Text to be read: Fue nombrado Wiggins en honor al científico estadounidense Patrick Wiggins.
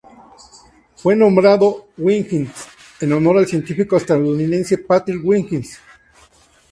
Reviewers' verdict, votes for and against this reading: rejected, 2, 2